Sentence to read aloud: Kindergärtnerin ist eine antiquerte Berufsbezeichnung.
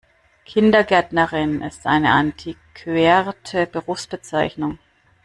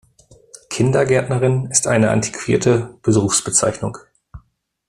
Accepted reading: first